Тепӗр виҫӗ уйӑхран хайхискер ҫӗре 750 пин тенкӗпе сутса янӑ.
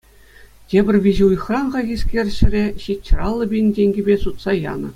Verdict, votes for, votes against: rejected, 0, 2